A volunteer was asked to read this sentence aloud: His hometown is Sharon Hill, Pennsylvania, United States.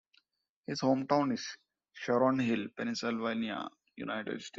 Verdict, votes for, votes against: rejected, 1, 2